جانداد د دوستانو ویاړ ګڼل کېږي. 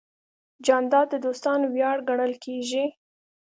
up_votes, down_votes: 3, 0